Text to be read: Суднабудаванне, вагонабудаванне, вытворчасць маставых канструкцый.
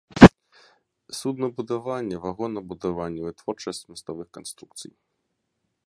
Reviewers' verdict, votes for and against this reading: accepted, 3, 0